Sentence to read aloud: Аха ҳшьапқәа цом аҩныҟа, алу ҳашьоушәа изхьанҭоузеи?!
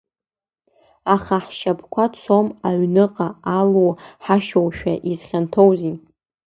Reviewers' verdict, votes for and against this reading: accepted, 2, 0